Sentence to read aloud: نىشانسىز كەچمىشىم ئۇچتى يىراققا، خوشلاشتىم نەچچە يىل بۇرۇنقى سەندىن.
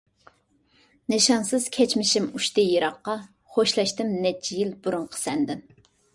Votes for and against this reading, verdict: 2, 0, accepted